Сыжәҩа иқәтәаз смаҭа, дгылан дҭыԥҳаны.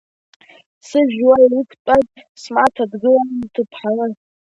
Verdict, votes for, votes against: accepted, 2, 1